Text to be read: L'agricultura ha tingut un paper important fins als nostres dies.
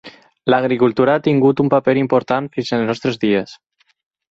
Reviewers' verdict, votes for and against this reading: accepted, 4, 0